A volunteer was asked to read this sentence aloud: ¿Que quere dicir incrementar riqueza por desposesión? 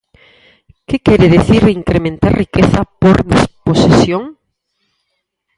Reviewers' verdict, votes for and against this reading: rejected, 2, 4